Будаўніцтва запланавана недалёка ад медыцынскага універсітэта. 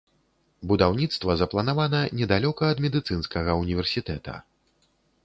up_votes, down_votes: 2, 0